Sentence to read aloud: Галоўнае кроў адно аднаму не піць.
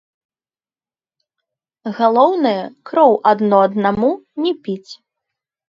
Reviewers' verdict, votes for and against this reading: rejected, 0, 2